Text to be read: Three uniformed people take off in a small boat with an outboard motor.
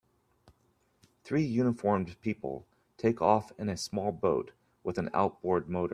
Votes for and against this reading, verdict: 1, 2, rejected